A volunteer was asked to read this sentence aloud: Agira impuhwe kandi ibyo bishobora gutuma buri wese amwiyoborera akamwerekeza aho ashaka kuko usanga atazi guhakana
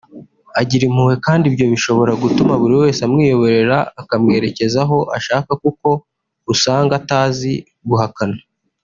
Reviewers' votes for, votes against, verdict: 3, 0, accepted